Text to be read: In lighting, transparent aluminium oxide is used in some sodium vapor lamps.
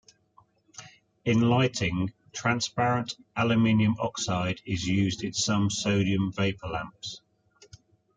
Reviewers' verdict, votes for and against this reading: accepted, 2, 0